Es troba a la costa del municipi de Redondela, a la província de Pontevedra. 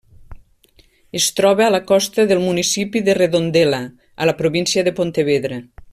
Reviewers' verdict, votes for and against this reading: accepted, 3, 0